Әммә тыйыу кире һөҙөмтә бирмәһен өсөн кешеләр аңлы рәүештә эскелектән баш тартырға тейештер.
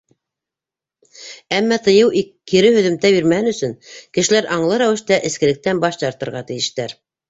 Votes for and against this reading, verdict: 1, 2, rejected